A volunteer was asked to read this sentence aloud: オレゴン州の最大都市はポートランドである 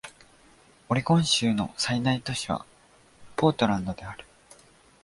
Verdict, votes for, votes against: accepted, 2, 0